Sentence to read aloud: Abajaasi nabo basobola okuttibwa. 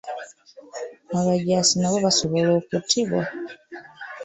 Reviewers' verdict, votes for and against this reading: rejected, 1, 2